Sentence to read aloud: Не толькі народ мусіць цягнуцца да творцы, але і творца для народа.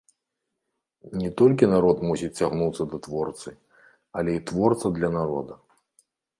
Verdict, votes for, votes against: accepted, 2, 1